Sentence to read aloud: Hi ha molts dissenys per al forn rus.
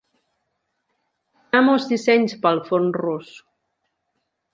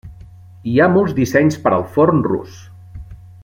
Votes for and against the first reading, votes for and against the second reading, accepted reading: 0, 2, 3, 0, second